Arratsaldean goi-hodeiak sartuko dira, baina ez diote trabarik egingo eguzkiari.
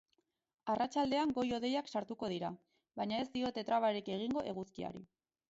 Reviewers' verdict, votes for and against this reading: accepted, 4, 0